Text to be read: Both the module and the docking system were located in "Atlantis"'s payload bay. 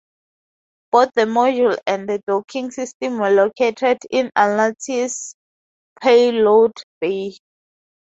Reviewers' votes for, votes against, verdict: 2, 0, accepted